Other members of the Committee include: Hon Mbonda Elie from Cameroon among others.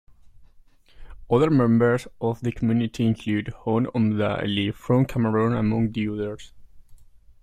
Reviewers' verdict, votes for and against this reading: rejected, 1, 2